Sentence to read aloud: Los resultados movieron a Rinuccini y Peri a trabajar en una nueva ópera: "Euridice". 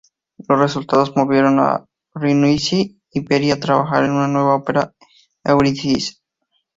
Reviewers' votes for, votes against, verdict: 4, 4, rejected